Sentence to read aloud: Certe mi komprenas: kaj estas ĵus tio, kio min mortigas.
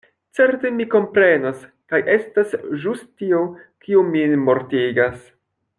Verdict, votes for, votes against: accepted, 2, 0